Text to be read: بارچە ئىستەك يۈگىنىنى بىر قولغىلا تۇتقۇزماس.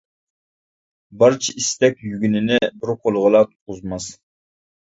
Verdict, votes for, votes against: rejected, 1, 2